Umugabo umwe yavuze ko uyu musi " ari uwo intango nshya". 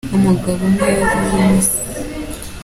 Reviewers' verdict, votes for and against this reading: rejected, 0, 2